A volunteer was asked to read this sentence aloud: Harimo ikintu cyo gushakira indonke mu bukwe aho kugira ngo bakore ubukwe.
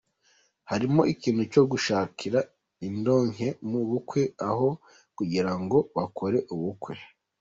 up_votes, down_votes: 2, 0